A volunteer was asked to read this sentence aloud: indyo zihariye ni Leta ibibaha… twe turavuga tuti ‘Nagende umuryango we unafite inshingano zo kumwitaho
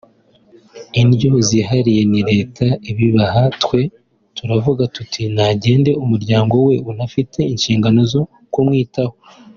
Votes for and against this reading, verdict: 2, 0, accepted